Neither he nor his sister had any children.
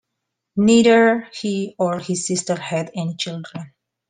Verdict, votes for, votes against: rejected, 1, 2